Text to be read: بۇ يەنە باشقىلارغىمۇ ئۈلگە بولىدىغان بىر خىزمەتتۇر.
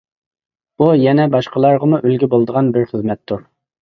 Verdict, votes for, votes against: accepted, 2, 0